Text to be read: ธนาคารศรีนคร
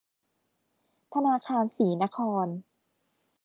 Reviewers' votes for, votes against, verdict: 2, 0, accepted